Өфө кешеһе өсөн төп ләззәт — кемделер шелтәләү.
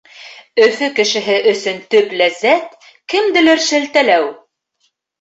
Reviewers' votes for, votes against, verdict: 2, 0, accepted